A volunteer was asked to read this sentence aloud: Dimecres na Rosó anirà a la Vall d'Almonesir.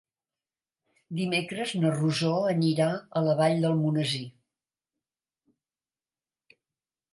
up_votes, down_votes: 2, 0